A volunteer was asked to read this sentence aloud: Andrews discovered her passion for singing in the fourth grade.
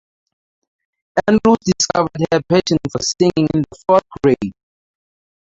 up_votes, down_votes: 0, 2